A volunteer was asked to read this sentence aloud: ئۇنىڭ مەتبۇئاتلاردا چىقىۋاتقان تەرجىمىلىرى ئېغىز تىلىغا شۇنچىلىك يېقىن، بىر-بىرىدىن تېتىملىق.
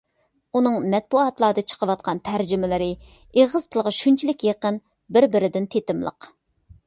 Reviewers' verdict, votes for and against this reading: accepted, 2, 0